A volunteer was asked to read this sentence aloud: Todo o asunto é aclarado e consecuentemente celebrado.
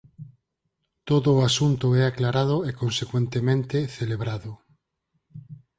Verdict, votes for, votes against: accepted, 4, 0